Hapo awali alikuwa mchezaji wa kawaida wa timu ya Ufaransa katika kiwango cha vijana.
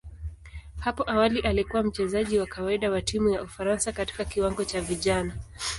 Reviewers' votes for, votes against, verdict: 2, 0, accepted